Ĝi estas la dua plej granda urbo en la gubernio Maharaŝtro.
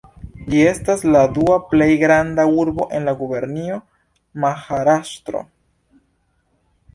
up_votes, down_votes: 2, 1